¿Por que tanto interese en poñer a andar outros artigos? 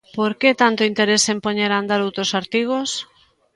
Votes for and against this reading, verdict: 3, 0, accepted